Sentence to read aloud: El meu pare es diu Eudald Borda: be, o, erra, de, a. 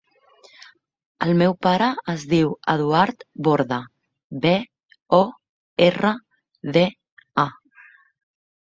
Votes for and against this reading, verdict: 1, 2, rejected